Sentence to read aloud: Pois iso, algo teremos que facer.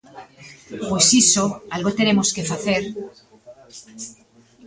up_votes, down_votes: 1, 2